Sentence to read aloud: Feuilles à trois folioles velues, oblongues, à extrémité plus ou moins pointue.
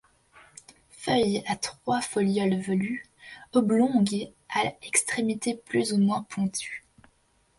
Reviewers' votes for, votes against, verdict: 1, 2, rejected